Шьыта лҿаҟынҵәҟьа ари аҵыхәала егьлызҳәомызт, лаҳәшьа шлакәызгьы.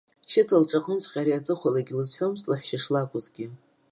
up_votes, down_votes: 0, 2